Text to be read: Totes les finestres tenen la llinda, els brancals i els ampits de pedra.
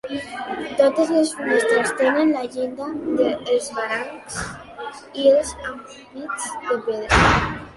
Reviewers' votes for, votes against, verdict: 0, 3, rejected